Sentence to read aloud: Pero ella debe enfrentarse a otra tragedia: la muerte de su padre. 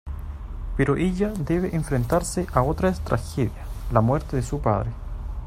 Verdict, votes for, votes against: rejected, 0, 2